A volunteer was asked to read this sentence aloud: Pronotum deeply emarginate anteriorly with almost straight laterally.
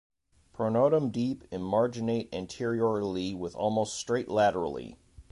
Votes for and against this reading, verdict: 1, 2, rejected